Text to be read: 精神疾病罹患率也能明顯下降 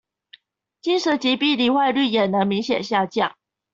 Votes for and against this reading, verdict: 2, 1, accepted